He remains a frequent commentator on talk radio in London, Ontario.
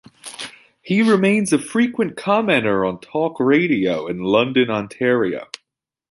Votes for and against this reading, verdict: 2, 0, accepted